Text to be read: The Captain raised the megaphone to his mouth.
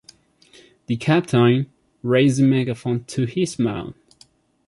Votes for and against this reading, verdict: 0, 2, rejected